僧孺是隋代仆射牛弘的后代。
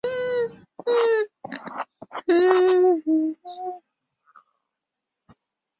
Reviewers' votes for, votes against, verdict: 2, 0, accepted